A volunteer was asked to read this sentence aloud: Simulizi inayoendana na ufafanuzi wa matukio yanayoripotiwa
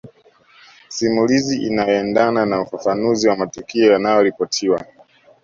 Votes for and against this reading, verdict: 2, 0, accepted